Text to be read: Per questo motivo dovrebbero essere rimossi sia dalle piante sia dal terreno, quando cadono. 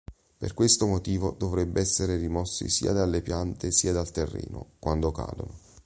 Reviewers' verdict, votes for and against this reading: rejected, 0, 2